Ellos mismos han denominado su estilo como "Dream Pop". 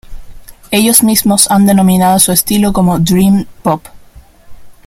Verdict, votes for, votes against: accepted, 2, 1